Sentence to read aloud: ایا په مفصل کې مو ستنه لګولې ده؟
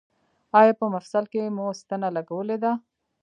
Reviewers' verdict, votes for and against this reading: accepted, 2, 0